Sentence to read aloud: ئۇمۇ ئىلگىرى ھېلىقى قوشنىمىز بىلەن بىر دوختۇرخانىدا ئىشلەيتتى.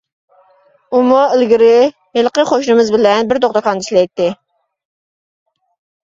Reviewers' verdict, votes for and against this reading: accepted, 2, 0